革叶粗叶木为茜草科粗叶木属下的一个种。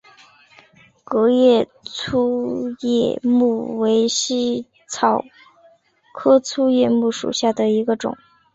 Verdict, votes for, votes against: accepted, 7, 0